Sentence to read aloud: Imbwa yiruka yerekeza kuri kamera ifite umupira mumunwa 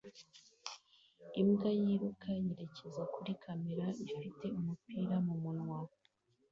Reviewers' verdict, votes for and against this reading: accepted, 2, 0